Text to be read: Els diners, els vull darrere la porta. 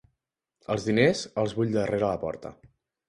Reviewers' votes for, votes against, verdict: 2, 0, accepted